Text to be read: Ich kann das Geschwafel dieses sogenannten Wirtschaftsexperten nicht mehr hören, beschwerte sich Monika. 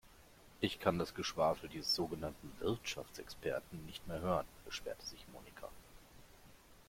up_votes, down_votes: 2, 1